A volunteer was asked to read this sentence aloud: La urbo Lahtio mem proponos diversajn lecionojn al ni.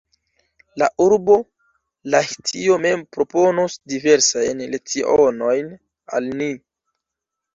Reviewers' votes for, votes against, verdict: 1, 2, rejected